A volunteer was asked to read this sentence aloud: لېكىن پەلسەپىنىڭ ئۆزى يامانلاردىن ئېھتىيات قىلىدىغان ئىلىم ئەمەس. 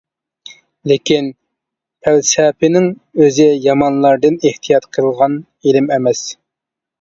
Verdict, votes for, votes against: rejected, 0, 2